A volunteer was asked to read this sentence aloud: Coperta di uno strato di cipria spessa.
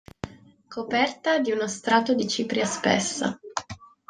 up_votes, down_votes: 2, 0